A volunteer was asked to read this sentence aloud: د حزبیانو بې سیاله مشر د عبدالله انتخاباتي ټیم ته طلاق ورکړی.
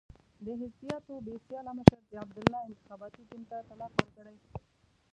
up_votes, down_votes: 1, 2